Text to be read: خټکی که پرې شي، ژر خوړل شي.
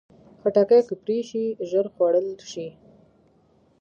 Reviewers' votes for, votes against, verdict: 1, 2, rejected